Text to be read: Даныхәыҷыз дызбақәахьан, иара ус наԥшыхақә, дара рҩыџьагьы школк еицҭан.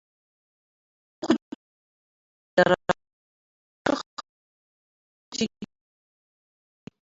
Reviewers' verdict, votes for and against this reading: rejected, 0, 3